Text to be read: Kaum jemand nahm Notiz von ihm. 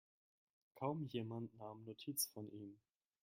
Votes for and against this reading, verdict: 0, 2, rejected